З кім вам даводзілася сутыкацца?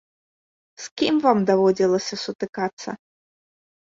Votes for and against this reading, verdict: 2, 0, accepted